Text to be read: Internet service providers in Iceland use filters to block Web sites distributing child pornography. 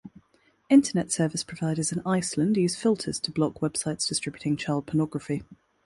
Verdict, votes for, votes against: accepted, 2, 0